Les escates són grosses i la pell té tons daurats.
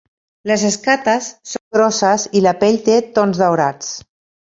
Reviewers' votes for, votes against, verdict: 2, 1, accepted